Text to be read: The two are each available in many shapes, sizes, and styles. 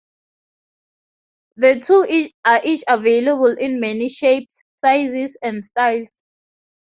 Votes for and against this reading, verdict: 0, 2, rejected